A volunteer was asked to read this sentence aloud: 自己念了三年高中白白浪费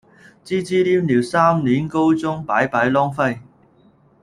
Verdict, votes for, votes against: rejected, 1, 2